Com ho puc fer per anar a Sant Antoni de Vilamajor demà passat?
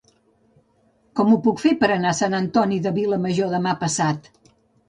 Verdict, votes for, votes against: accepted, 2, 1